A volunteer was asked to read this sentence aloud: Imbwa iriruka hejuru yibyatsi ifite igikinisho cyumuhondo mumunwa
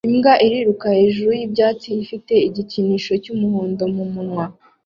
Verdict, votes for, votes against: accepted, 2, 0